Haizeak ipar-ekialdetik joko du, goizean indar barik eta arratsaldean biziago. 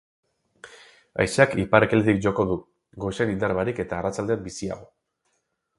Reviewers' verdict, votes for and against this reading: rejected, 2, 4